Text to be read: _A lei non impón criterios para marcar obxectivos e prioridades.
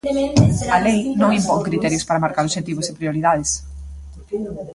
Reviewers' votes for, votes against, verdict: 0, 2, rejected